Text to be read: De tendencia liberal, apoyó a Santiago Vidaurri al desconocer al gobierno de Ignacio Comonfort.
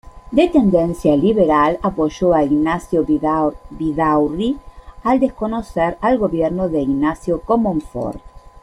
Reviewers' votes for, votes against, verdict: 0, 2, rejected